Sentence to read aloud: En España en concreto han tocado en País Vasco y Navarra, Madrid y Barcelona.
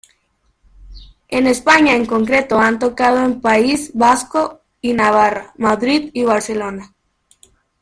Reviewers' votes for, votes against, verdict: 2, 0, accepted